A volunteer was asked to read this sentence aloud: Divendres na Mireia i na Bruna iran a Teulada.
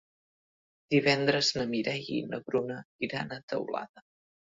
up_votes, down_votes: 2, 0